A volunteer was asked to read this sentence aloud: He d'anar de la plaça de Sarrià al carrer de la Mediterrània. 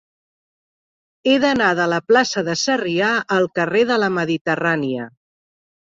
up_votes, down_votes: 3, 0